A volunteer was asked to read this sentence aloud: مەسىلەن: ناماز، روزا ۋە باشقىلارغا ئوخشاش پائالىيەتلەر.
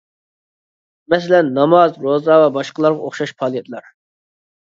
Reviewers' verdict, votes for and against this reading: accepted, 2, 0